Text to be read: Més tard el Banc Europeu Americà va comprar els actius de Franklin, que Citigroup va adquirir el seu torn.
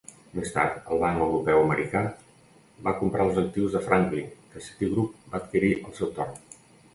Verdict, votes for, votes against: rejected, 0, 2